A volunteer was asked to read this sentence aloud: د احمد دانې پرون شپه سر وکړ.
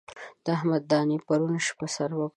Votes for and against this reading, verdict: 0, 2, rejected